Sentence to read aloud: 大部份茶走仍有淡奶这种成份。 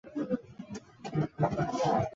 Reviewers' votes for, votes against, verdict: 0, 3, rejected